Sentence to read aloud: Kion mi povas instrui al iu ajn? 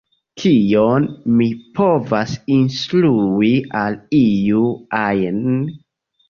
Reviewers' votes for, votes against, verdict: 1, 2, rejected